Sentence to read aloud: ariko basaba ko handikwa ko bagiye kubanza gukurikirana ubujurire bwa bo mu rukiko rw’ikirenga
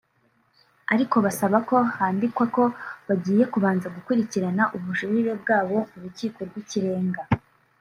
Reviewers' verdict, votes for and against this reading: rejected, 0, 2